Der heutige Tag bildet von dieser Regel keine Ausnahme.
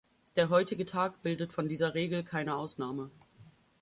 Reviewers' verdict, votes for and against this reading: accepted, 2, 0